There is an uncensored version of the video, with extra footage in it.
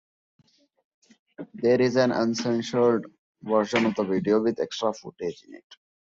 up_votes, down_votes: 1, 2